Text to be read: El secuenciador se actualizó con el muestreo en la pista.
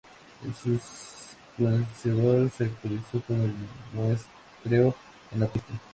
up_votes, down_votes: 0, 2